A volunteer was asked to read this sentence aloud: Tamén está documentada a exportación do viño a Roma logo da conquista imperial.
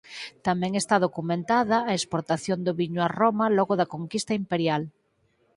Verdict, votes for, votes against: accepted, 4, 0